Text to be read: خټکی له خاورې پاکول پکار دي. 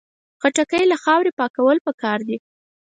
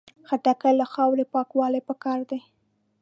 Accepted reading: first